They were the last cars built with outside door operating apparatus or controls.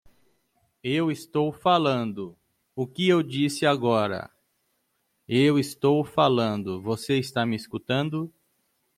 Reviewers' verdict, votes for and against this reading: rejected, 0, 2